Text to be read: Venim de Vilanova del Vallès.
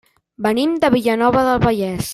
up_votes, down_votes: 0, 2